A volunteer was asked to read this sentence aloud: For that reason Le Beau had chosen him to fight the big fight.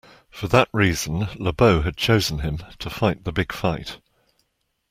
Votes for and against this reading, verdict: 2, 0, accepted